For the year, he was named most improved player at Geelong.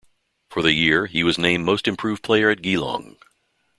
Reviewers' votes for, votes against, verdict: 2, 0, accepted